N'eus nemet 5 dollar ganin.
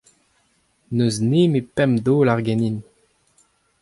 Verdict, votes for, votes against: rejected, 0, 2